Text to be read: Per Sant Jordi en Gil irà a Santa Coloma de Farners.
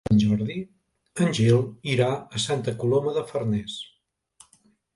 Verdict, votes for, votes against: rejected, 1, 2